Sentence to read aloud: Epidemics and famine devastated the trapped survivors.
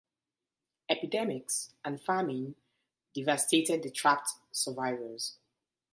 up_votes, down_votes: 2, 0